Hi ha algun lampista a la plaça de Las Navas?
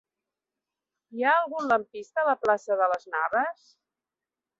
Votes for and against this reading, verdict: 2, 0, accepted